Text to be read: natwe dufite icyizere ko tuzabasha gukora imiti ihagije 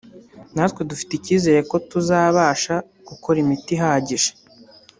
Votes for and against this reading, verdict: 2, 0, accepted